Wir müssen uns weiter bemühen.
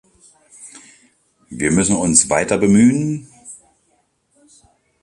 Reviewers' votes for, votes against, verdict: 2, 0, accepted